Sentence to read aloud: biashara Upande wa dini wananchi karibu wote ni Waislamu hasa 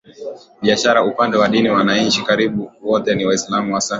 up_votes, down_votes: 2, 1